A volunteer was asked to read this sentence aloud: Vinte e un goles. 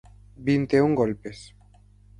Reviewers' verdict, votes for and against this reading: rejected, 0, 4